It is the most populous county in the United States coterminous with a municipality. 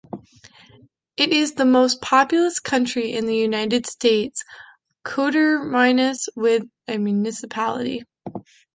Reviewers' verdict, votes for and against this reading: rejected, 0, 2